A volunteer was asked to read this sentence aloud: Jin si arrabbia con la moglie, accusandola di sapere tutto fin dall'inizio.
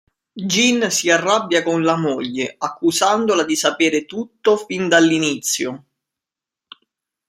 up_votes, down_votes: 2, 0